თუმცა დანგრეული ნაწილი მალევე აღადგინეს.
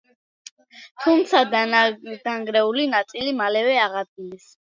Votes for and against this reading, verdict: 0, 2, rejected